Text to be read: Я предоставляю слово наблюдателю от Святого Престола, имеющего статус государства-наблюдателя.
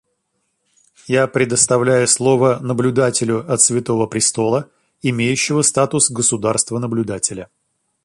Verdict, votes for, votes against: accepted, 2, 0